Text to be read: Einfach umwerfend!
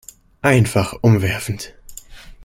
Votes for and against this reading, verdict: 2, 0, accepted